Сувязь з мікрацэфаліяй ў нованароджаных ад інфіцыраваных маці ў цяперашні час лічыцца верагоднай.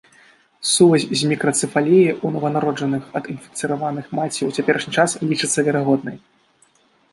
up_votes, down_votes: 1, 2